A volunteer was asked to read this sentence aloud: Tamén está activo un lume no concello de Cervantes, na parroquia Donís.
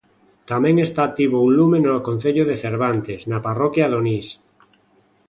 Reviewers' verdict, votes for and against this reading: accepted, 2, 0